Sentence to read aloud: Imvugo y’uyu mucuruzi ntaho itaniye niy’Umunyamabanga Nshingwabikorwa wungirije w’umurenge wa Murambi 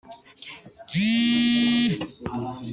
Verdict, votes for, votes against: rejected, 0, 4